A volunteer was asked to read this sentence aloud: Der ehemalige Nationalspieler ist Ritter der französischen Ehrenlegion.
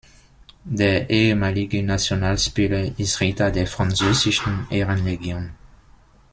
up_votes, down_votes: 2, 0